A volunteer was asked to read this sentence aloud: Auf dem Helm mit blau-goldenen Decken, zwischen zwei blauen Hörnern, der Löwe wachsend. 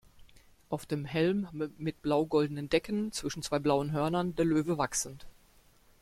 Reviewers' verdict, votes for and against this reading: accepted, 2, 1